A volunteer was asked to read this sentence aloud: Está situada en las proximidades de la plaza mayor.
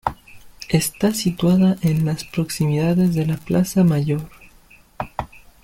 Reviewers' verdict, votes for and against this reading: accepted, 2, 1